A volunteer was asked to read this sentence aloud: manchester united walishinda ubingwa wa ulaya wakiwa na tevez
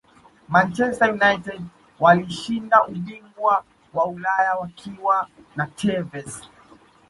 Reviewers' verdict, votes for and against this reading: accepted, 2, 1